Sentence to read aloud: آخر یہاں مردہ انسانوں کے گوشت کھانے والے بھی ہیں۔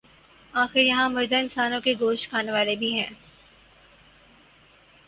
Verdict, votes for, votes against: accepted, 4, 0